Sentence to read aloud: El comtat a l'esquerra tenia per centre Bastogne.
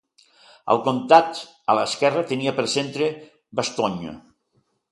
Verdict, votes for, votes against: accepted, 2, 0